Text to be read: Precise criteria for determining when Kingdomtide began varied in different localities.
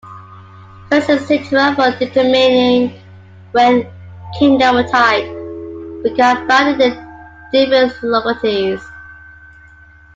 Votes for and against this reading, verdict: 0, 2, rejected